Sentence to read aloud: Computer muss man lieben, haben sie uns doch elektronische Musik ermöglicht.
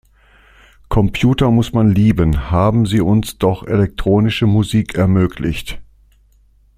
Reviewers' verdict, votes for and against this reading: accepted, 2, 0